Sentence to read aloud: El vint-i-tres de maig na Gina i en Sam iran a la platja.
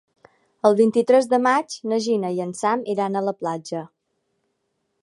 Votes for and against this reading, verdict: 4, 0, accepted